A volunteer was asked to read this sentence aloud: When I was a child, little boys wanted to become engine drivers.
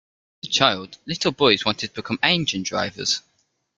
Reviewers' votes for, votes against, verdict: 0, 2, rejected